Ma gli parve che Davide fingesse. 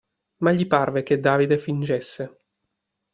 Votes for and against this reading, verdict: 2, 0, accepted